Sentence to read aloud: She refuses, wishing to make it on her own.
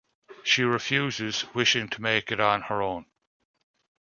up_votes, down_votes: 2, 0